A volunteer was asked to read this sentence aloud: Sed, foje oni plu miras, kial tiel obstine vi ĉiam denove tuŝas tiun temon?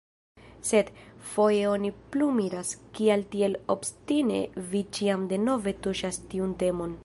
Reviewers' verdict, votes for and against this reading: rejected, 1, 2